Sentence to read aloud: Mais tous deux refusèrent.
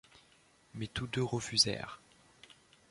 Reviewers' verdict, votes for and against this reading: accepted, 2, 0